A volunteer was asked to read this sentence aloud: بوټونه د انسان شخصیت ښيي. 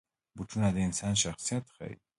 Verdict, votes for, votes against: accepted, 2, 1